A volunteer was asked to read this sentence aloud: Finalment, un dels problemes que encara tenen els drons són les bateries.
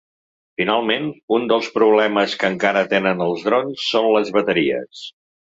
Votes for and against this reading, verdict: 3, 0, accepted